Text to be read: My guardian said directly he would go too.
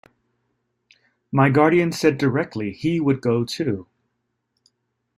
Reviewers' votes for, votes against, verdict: 2, 0, accepted